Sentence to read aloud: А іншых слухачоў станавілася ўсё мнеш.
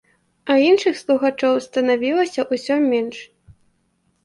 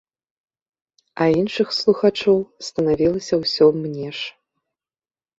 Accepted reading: second